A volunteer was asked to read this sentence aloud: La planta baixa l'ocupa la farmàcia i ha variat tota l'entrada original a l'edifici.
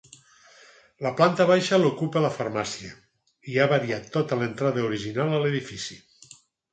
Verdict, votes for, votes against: accepted, 4, 0